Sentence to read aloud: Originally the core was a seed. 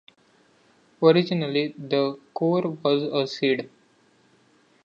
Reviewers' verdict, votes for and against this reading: accepted, 2, 0